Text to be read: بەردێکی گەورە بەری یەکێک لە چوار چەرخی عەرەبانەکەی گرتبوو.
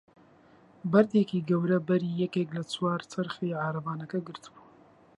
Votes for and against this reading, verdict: 0, 2, rejected